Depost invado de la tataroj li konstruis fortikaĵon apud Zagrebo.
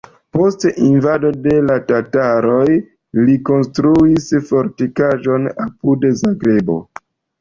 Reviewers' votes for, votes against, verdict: 2, 1, accepted